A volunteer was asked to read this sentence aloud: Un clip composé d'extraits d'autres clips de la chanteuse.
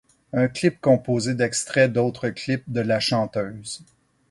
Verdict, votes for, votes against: accepted, 4, 0